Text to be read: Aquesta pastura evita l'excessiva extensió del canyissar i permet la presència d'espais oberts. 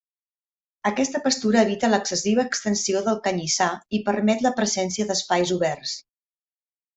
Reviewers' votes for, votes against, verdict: 1, 2, rejected